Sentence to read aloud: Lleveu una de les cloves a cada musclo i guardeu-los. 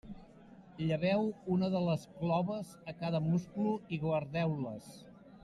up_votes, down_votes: 1, 2